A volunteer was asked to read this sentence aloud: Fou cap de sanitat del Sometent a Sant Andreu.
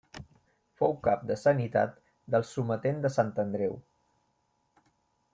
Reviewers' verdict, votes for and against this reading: rejected, 0, 2